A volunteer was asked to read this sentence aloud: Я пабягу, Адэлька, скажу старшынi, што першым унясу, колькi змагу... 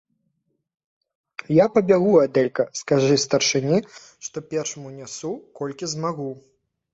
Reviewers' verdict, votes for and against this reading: rejected, 1, 2